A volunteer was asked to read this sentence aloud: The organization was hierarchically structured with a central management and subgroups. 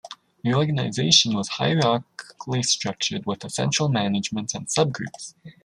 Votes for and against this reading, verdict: 0, 2, rejected